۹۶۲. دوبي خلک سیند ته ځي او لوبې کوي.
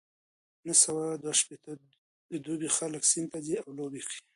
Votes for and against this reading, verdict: 0, 2, rejected